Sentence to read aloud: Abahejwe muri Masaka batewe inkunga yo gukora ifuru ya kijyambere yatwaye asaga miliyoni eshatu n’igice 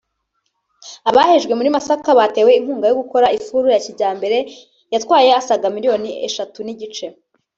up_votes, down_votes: 1, 2